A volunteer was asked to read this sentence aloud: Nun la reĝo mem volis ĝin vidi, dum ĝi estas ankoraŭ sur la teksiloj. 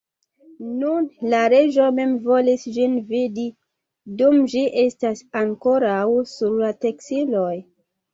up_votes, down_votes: 2, 1